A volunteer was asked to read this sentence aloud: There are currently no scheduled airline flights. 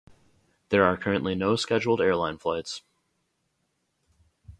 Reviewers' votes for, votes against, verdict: 0, 4, rejected